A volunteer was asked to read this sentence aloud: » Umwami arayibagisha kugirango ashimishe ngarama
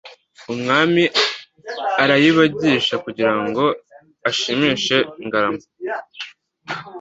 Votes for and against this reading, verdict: 2, 0, accepted